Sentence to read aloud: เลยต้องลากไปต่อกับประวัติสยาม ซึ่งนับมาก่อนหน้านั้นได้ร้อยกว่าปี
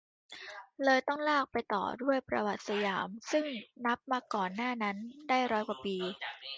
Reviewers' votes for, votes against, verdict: 0, 2, rejected